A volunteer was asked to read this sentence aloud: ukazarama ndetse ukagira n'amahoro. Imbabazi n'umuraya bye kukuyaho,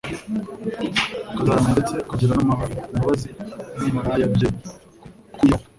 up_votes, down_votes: 1, 2